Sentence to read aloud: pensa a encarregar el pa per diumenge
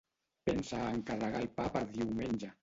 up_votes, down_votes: 0, 2